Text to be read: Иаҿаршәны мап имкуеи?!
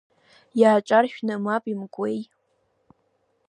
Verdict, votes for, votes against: rejected, 1, 2